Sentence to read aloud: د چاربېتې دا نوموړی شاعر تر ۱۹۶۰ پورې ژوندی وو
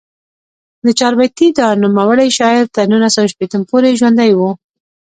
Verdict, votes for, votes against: rejected, 0, 2